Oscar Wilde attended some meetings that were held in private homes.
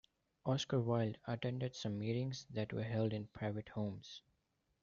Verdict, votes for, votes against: accepted, 2, 1